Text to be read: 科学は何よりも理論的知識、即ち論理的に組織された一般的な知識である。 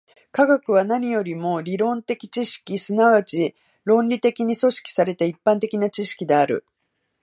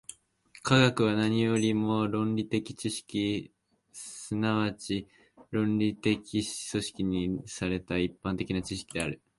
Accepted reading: first